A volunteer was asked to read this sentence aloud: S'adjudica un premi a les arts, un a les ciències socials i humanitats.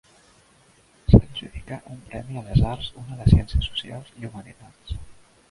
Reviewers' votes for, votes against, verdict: 1, 2, rejected